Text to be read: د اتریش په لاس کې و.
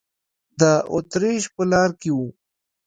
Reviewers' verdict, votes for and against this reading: rejected, 0, 2